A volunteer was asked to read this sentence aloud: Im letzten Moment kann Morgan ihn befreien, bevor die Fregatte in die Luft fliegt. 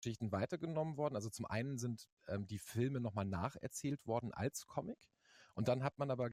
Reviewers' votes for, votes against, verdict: 0, 2, rejected